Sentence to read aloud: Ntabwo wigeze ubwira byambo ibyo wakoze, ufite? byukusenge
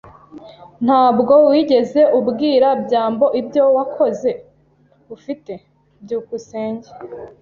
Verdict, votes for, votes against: accepted, 2, 0